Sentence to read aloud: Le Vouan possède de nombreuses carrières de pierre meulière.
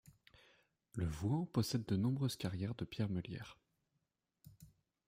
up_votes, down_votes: 2, 0